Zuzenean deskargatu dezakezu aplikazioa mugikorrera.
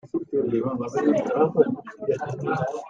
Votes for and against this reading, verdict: 0, 2, rejected